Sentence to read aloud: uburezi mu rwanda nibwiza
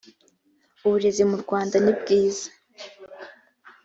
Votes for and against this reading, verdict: 2, 0, accepted